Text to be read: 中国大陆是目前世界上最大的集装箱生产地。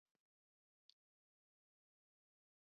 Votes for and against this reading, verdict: 0, 2, rejected